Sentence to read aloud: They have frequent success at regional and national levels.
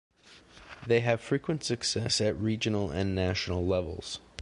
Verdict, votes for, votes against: accepted, 2, 0